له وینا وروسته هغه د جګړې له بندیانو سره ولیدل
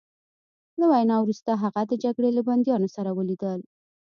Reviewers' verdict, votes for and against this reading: accepted, 2, 0